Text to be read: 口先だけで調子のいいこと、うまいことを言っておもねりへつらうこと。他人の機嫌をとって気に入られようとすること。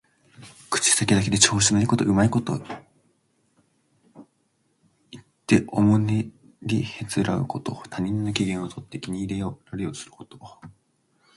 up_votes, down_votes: 1, 2